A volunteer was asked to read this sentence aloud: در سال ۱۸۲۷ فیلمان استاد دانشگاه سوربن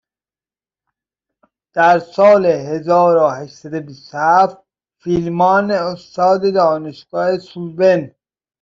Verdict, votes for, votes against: rejected, 0, 2